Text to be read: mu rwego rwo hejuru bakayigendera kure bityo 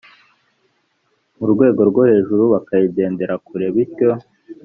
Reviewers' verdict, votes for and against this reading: accepted, 2, 0